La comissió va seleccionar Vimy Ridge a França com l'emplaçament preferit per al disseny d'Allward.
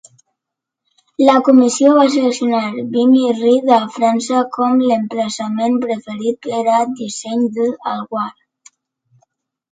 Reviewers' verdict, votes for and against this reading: rejected, 1, 2